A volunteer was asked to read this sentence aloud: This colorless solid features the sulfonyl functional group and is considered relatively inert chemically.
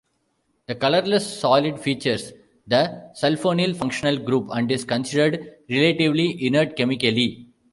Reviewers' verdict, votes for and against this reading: accepted, 2, 0